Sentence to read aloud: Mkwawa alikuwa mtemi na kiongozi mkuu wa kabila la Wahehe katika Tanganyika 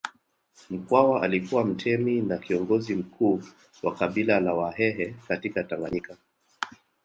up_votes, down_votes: 1, 2